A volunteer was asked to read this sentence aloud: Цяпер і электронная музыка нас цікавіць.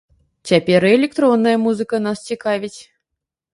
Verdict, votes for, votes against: accepted, 2, 0